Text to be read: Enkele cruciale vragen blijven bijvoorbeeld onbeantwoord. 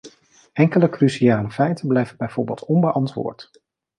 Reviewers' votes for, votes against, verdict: 0, 2, rejected